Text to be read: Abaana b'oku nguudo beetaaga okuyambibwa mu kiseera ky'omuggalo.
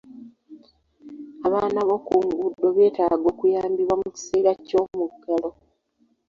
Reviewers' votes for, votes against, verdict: 2, 0, accepted